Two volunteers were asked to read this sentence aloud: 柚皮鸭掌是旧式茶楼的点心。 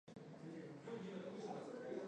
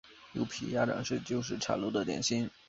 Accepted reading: second